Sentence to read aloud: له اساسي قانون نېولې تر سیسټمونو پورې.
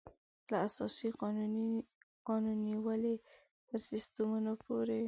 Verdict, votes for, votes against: rejected, 0, 2